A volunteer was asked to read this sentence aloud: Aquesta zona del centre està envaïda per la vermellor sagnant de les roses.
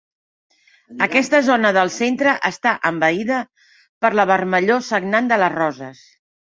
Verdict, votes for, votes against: accepted, 2, 0